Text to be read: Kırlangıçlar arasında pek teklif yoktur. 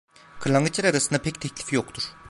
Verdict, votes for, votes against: rejected, 0, 2